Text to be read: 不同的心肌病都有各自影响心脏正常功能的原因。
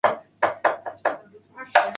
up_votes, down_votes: 0, 3